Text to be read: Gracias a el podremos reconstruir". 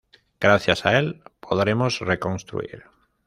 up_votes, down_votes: 0, 2